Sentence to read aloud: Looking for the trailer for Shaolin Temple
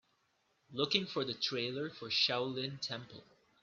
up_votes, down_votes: 4, 0